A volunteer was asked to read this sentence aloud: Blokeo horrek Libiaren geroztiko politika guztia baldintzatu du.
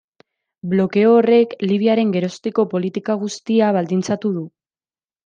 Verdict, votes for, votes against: accepted, 2, 0